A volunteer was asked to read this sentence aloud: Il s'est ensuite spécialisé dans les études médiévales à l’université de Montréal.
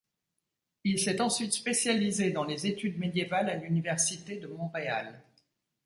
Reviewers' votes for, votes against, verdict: 2, 0, accepted